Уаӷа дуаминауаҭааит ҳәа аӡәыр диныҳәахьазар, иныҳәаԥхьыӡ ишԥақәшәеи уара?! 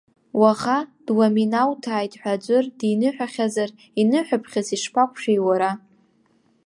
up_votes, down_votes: 1, 2